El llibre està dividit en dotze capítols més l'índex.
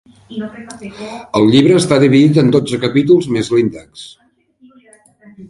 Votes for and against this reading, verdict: 0, 2, rejected